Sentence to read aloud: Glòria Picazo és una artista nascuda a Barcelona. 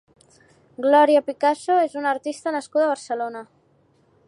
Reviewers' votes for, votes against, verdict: 2, 0, accepted